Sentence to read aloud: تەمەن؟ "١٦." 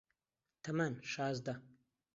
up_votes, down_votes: 0, 2